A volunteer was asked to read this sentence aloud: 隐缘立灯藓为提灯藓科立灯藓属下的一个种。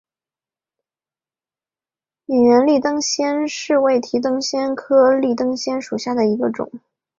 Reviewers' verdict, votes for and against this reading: rejected, 0, 2